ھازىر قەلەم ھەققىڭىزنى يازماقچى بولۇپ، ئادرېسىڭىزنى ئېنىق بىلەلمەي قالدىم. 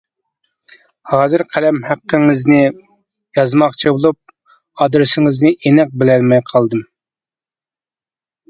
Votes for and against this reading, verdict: 2, 0, accepted